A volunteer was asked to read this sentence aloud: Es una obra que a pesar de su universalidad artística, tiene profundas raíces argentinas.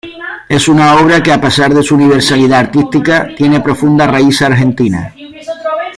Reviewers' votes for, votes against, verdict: 1, 2, rejected